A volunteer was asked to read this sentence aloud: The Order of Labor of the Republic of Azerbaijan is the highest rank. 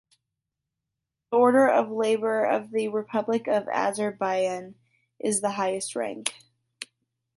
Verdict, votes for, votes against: accepted, 2, 0